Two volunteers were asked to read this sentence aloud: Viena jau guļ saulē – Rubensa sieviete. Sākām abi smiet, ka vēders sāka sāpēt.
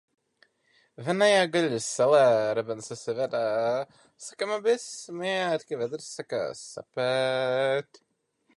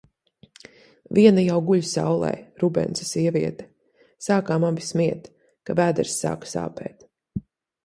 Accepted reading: second